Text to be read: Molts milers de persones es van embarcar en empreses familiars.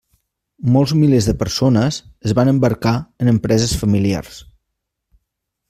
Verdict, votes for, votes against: accepted, 3, 0